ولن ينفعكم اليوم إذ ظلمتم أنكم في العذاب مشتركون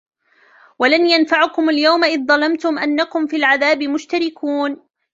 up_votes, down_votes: 0, 2